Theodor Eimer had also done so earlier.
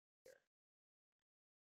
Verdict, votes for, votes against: rejected, 1, 3